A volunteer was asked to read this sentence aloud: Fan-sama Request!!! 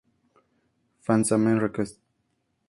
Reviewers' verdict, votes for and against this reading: accepted, 2, 0